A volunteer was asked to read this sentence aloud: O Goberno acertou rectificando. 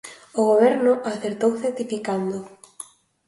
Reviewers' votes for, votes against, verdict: 2, 1, accepted